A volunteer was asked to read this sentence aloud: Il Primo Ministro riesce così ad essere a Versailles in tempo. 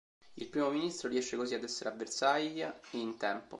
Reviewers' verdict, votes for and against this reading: rejected, 1, 2